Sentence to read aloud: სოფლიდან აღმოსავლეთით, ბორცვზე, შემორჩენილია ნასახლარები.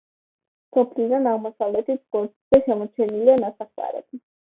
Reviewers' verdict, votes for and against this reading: accepted, 2, 1